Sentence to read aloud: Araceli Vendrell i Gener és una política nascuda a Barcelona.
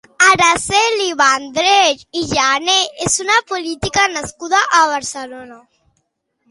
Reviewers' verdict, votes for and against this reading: accepted, 2, 0